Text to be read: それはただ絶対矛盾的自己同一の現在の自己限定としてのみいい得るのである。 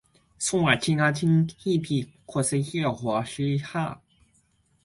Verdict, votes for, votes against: rejected, 1, 2